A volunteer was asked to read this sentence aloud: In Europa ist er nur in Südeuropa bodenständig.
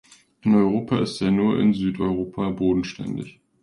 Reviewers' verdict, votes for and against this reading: accepted, 2, 0